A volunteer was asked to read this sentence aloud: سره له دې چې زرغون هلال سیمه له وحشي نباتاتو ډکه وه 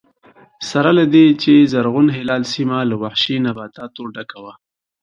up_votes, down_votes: 2, 0